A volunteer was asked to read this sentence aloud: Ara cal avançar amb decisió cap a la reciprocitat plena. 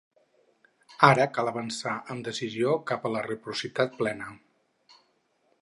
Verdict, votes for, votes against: rejected, 0, 4